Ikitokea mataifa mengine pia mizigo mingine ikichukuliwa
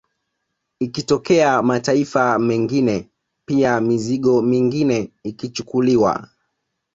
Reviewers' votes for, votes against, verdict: 2, 0, accepted